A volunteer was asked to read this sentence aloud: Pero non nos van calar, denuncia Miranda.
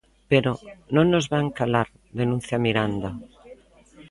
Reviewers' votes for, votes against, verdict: 2, 0, accepted